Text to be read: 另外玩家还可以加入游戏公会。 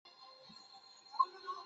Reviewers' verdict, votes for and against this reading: rejected, 0, 3